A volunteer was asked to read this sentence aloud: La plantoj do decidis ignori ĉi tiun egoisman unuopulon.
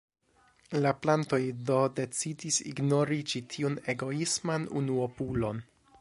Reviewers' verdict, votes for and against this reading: accepted, 2, 1